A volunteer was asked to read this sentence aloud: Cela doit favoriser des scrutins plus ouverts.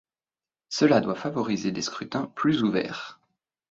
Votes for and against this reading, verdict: 3, 0, accepted